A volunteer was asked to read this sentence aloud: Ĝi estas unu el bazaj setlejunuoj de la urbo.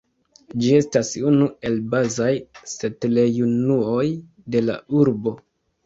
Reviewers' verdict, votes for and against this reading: rejected, 1, 2